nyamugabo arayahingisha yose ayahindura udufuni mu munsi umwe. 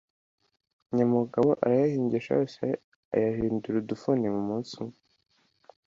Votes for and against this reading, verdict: 2, 0, accepted